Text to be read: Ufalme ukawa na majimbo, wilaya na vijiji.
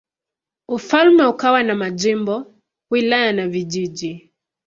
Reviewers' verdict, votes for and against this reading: accepted, 2, 0